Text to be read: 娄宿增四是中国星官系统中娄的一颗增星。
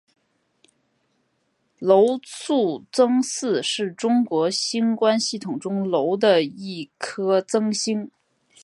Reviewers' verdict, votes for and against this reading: accepted, 4, 1